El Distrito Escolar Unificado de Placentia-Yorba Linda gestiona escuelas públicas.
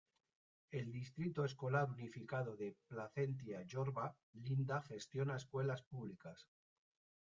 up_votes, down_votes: 1, 2